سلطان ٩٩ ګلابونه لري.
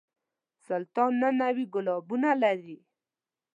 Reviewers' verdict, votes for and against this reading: rejected, 0, 2